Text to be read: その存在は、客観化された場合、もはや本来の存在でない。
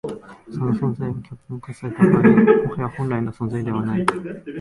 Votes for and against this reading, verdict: 1, 2, rejected